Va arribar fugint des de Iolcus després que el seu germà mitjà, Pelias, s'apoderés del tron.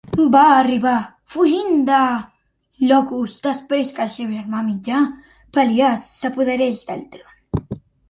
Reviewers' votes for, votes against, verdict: 0, 2, rejected